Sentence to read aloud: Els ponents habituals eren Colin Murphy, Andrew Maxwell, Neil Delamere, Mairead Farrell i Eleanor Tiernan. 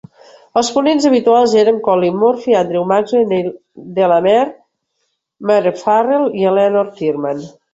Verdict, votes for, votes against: rejected, 0, 2